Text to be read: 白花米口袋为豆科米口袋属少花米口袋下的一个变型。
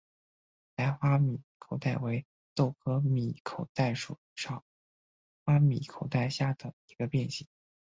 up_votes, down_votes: 2, 2